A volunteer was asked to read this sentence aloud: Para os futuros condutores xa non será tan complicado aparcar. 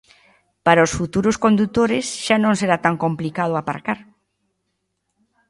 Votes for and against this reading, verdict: 2, 0, accepted